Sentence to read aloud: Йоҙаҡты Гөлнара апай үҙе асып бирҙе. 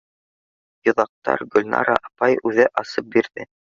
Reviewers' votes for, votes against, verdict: 1, 2, rejected